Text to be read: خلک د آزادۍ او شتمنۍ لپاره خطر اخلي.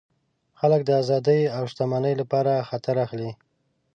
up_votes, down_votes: 2, 0